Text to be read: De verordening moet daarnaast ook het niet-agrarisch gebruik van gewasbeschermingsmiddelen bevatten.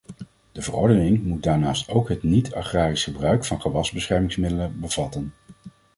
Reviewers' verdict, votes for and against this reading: accepted, 2, 0